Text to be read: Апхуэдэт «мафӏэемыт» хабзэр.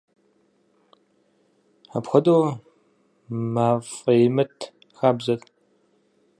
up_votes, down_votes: 0, 4